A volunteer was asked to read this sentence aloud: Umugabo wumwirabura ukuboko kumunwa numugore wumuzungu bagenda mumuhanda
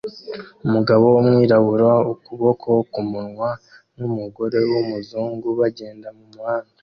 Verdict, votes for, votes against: accepted, 3, 2